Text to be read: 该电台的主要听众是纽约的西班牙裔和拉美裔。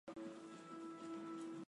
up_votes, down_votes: 0, 2